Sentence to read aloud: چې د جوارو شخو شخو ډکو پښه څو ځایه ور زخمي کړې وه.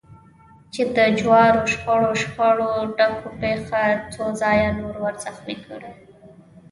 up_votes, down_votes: 1, 2